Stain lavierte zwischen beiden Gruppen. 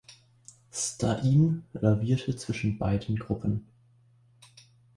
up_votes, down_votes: 1, 2